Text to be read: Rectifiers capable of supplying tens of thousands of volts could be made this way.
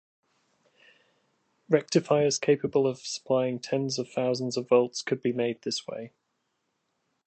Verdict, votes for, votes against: accepted, 2, 0